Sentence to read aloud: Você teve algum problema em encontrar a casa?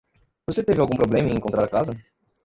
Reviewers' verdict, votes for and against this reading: rejected, 1, 2